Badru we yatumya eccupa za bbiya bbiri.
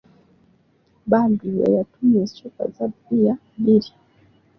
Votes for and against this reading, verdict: 2, 0, accepted